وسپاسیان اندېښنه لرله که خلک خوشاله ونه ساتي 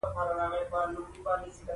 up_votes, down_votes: 0, 2